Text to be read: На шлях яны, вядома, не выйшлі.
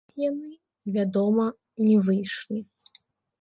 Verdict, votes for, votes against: rejected, 0, 4